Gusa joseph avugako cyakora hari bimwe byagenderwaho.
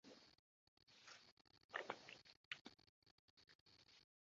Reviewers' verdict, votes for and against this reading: rejected, 0, 2